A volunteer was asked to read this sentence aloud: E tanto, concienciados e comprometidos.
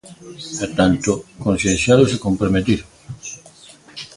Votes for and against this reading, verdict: 2, 1, accepted